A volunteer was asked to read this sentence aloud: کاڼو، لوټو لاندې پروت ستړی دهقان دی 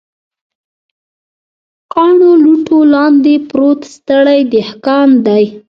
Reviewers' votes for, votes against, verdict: 0, 2, rejected